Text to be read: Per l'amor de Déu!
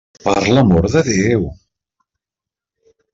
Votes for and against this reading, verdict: 3, 0, accepted